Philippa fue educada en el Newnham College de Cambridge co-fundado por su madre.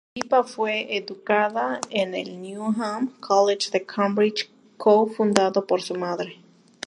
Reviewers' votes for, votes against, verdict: 0, 2, rejected